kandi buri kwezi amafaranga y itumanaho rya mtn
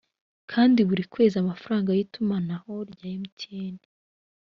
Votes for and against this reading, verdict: 1, 2, rejected